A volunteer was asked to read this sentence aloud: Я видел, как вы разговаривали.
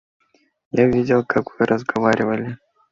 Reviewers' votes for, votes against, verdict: 2, 0, accepted